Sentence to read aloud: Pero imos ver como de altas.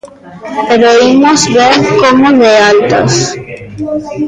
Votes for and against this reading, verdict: 1, 2, rejected